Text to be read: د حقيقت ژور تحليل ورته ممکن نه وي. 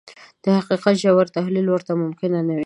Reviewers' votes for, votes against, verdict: 2, 0, accepted